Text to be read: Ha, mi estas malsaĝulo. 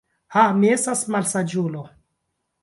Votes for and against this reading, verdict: 0, 2, rejected